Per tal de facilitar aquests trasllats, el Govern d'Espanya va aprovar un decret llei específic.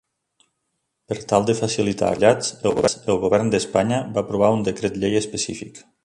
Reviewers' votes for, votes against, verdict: 0, 2, rejected